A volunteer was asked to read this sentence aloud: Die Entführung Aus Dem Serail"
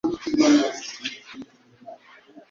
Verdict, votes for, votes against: rejected, 1, 3